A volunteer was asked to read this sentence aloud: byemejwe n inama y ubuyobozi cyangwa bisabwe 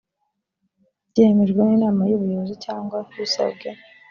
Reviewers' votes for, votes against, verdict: 2, 0, accepted